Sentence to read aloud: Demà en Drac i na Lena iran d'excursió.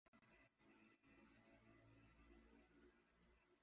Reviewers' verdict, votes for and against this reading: rejected, 1, 2